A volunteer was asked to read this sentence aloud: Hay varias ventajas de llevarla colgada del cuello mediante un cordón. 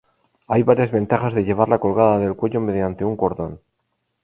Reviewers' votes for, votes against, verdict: 2, 0, accepted